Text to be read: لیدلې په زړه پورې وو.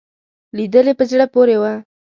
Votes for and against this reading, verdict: 2, 0, accepted